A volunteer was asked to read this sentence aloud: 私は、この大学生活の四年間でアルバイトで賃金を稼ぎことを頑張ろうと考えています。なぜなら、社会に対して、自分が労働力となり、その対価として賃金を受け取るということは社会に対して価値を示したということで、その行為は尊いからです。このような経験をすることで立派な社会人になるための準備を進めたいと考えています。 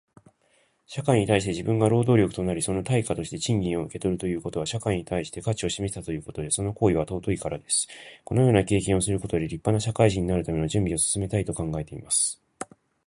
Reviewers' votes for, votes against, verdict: 1, 2, rejected